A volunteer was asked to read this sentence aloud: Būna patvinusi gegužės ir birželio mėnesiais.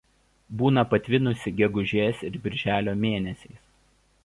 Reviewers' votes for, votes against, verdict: 1, 2, rejected